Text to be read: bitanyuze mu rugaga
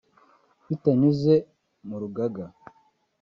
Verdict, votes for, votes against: rejected, 1, 2